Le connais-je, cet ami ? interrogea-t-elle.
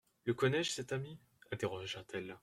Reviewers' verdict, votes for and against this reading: accepted, 2, 0